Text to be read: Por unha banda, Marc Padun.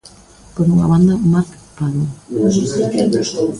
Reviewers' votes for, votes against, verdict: 0, 2, rejected